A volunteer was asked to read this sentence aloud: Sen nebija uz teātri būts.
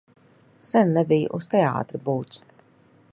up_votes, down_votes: 2, 0